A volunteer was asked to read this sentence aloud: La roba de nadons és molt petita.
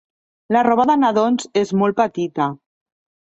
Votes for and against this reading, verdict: 2, 0, accepted